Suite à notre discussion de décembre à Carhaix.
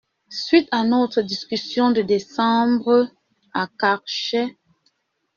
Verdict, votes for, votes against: rejected, 0, 2